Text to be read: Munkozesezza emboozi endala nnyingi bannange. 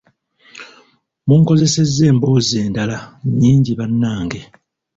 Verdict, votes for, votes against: accepted, 2, 1